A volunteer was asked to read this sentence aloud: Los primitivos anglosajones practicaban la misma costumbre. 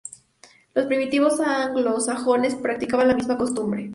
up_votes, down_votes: 2, 0